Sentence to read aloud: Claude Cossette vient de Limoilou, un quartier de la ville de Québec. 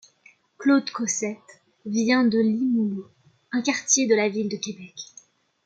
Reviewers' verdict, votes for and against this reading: accepted, 2, 0